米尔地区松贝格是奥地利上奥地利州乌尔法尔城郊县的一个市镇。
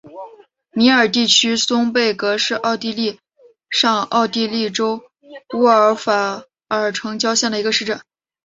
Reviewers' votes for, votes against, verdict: 0, 2, rejected